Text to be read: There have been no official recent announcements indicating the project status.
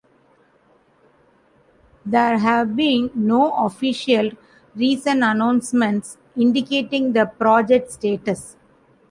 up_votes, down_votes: 2, 0